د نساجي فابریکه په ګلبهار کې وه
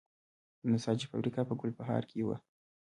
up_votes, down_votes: 2, 0